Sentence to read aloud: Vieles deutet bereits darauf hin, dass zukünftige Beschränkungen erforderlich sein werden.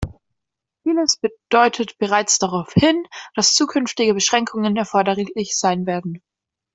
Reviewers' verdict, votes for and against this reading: rejected, 0, 2